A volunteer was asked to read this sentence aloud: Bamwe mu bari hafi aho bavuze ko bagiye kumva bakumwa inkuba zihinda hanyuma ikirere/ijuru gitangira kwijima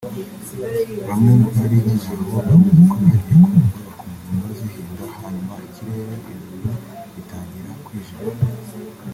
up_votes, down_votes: 1, 2